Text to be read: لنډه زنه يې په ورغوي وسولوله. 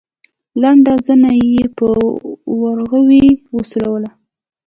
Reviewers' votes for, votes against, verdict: 1, 2, rejected